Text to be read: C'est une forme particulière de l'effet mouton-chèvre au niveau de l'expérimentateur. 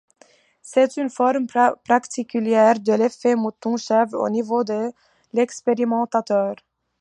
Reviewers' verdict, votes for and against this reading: rejected, 0, 2